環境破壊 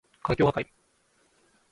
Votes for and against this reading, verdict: 0, 2, rejected